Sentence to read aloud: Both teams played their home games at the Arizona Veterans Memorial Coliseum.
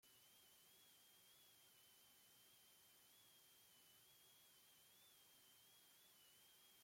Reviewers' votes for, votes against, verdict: 0, 2, rejected